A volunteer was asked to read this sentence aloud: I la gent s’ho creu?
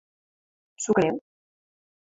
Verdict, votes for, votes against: rejected, 1, 2